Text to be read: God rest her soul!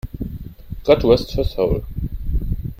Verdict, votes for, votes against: rejected, 1, 2